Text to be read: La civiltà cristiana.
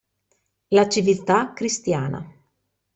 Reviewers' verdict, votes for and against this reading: accepted, 2, 0